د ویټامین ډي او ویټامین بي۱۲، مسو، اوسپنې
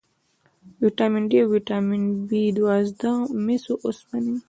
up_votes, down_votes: 0, 2